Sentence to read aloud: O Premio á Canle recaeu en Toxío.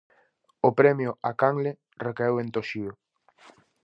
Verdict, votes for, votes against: accepted, 4, 0